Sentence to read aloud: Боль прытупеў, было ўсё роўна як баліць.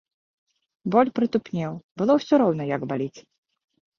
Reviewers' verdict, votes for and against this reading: rejected, 1, 2